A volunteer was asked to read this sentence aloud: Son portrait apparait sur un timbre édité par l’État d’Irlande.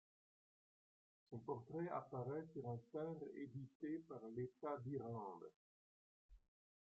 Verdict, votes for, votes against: accepted, 2, 1